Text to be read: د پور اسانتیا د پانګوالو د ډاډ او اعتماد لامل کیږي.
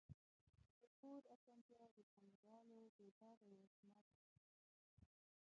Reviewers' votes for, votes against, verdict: 0, 2, rejected